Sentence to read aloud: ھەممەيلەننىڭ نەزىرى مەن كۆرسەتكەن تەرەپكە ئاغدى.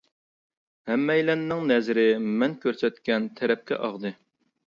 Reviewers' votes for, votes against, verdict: 2, 0, accepted